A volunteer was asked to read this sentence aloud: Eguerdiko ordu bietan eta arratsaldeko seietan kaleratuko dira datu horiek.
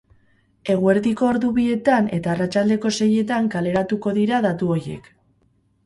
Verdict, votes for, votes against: rejected, 2, 2